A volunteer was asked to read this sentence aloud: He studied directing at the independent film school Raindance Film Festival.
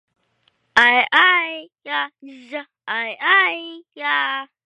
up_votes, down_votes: 0, 2